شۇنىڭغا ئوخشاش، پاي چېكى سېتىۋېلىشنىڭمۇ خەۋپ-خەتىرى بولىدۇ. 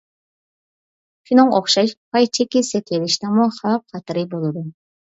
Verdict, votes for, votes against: rejected, 1, 2